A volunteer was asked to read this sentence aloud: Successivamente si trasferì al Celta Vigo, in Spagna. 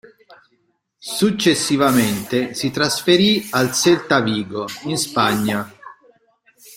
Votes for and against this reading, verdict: 2, 1, accepted